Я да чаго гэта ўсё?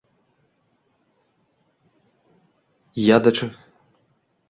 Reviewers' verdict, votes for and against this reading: rejected, 0, 2